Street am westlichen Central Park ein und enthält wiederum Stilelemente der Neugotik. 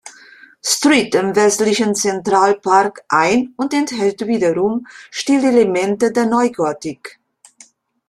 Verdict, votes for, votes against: rejected, 0, 2